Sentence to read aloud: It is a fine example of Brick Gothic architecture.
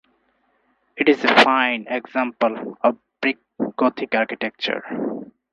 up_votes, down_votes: 4, 0